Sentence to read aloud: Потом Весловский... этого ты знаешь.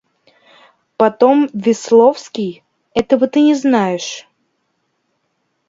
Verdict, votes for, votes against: rejected, 1, 2